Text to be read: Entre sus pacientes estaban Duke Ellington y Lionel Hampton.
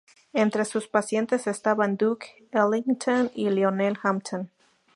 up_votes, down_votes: 2, 0